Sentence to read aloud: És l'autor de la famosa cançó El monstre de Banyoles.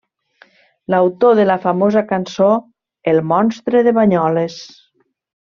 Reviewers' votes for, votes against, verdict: 0, 2, rejected